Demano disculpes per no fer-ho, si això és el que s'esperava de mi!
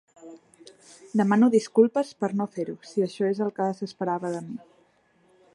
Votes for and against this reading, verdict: 3, 0, accepted